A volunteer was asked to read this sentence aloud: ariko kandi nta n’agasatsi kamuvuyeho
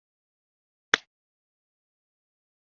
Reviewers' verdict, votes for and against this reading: rejected, 1, 3